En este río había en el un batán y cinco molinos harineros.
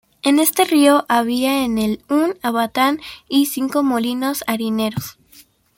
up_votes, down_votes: 0, 2